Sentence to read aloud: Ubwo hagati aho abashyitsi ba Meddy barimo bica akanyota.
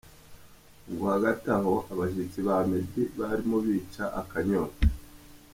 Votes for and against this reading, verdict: 1, 2, rejected